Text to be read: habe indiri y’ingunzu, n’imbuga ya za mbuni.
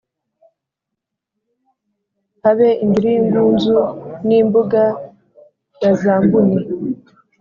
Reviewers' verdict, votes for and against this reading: accepted, 3, 0